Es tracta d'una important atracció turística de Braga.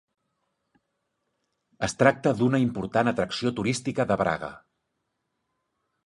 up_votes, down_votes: 4, 1